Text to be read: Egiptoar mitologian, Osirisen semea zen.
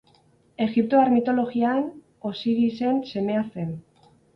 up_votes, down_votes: 4, 4